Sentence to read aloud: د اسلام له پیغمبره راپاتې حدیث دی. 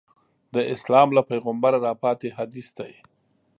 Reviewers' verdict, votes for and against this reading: accepted, 2, 0